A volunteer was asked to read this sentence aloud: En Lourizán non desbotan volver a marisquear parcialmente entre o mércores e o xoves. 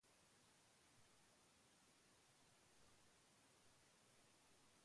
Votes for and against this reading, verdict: 0, 2, rejected